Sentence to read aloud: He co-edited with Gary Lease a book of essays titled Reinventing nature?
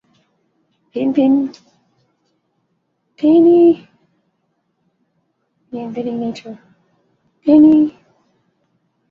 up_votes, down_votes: 0, 2